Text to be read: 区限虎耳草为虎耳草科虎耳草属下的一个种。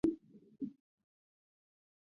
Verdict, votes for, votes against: rejected, 0, 2